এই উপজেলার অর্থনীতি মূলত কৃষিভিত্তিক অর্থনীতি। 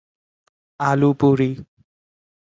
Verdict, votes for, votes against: rejected, 0, 2